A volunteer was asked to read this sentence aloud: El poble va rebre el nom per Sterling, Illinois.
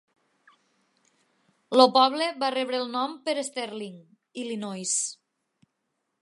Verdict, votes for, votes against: rejected, 2, 3